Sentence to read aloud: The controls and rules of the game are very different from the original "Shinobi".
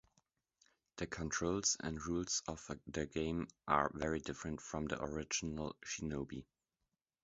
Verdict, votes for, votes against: accepted, 2, 0